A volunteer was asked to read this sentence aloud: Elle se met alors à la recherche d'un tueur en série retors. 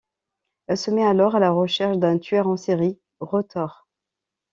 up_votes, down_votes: 2, 0